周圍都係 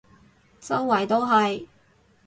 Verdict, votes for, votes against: accepted, 2, 0